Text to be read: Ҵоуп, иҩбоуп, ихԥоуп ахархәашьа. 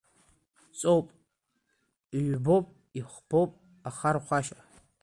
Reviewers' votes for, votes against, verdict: 2, 1, accepted